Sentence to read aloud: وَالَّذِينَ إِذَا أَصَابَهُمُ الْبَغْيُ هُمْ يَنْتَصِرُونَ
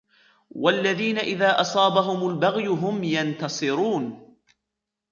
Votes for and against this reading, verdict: 2, 1, accepted